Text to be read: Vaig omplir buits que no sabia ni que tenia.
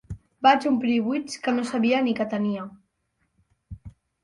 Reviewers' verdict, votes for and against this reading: accepted, 6, 0